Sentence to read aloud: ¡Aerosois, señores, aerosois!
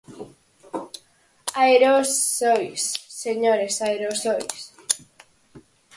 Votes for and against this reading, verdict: 2, 4, rejected